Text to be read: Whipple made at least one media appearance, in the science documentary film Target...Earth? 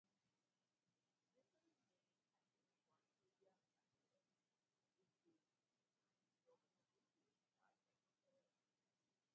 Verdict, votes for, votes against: rejected, 0, 2